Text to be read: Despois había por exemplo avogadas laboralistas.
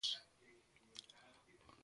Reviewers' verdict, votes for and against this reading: rejected, 0, 2